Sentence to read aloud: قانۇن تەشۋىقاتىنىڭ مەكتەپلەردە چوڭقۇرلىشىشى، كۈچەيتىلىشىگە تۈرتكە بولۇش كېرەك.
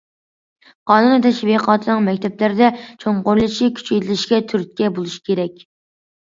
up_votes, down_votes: 2, 0